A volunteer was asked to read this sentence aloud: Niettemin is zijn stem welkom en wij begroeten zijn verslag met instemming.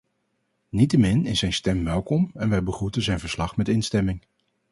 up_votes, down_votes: 4, 0